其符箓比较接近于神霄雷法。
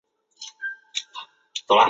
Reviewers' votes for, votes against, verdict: 2, 8, rejected